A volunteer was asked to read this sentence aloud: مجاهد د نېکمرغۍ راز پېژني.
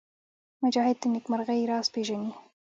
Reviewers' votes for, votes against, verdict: 0, 2, rejected